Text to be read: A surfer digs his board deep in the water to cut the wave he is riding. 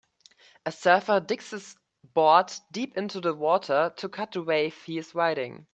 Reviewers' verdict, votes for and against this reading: accepted, 2, 1